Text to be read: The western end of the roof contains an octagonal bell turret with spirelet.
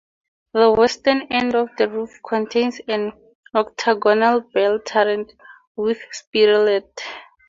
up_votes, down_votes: 4, 0